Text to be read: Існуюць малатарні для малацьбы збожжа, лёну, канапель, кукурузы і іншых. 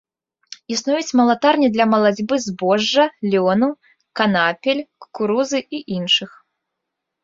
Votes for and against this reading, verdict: 1, 3, rejected